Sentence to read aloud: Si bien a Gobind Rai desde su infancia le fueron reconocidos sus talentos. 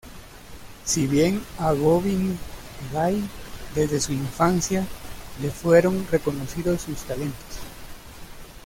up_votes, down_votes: 0, 2